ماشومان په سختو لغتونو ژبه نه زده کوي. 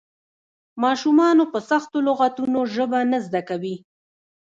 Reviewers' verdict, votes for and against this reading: accepted, 2, 1